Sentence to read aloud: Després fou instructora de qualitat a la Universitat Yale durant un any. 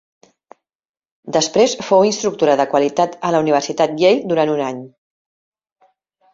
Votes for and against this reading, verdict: 2, 0, accepted